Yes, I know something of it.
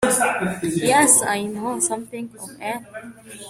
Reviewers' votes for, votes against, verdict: 0, 2, rejected